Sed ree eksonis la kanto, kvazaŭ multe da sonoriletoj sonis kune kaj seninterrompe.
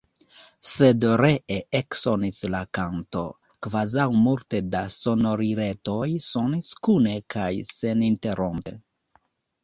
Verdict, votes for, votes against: accepted, 2, 0